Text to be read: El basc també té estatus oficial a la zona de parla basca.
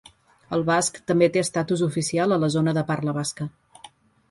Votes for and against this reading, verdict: 5, 0, accepted